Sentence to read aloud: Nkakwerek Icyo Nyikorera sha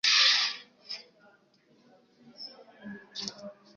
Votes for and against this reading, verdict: 1, 2, rejected